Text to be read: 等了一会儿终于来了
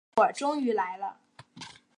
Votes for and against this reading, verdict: 3, 0, accepted